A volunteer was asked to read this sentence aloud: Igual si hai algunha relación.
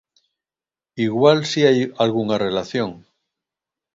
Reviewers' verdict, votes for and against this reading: accepted, 2, 0